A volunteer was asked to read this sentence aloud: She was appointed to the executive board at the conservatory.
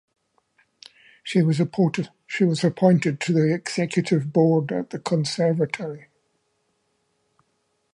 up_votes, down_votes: 0, 2